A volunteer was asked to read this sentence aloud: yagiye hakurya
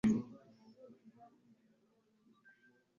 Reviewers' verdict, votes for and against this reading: rejected, 1, 2